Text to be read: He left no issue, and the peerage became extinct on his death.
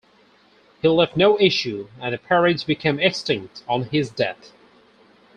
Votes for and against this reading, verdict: 4, 2, accepted